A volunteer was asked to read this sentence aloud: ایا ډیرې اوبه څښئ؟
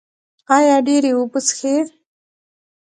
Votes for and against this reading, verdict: 1, 2, rejected